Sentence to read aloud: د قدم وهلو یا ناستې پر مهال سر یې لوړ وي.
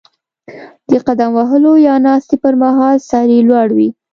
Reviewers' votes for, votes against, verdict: 2, 0, accepted